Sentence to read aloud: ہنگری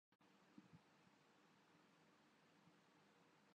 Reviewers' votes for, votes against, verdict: 0, 2, rejected